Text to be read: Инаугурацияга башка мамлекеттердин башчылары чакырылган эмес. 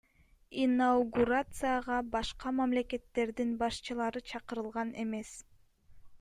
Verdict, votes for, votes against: accepted, 2, 0